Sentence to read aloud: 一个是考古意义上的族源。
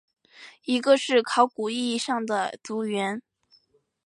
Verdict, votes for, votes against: accepted, 3, 0